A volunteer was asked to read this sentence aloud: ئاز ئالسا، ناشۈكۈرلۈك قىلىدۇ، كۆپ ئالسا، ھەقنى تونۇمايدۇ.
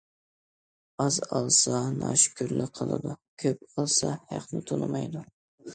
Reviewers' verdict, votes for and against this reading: accepted, 2, 0